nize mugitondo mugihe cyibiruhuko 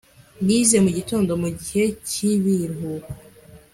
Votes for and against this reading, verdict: 1, 2, rejected